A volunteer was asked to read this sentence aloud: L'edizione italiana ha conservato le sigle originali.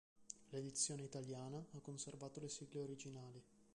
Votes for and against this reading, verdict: 1, 2, rejected